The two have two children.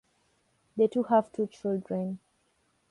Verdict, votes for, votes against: accepted, 2, 1